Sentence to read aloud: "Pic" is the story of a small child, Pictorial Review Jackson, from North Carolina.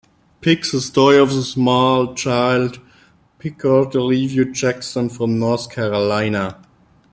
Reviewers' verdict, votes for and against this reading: rejected, 1, 2